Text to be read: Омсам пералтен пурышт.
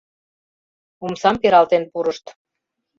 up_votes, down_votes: 3, 0